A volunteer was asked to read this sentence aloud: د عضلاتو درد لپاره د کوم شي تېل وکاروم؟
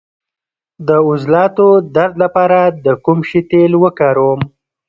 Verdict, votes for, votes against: rejected, 1, 2